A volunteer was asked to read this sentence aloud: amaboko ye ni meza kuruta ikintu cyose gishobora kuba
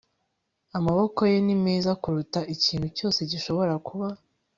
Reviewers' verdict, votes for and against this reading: accepted, 4, 1